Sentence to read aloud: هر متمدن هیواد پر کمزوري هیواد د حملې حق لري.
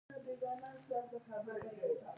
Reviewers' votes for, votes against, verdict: 1, 2, rejected